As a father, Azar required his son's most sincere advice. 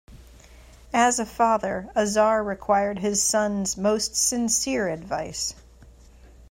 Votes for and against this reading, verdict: 2, 0, accepted